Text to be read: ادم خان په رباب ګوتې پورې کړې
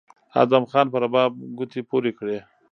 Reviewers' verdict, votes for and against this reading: rejected, 0, 2